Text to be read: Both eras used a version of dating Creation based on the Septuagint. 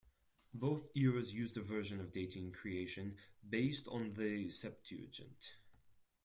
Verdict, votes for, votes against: rejected, 2, 4